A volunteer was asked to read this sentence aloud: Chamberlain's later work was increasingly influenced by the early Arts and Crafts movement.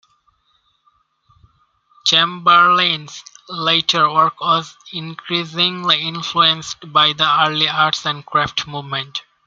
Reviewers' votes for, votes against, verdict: 1, 2, rejected